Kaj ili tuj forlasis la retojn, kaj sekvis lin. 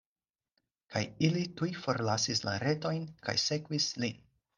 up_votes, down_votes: 4, 0